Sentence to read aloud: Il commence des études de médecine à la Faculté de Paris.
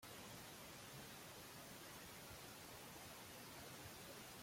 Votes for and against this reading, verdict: 0, 2, rejected